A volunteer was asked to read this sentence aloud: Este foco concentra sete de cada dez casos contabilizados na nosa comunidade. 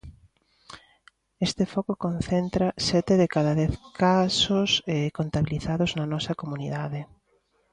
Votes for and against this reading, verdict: 0, 2, rejected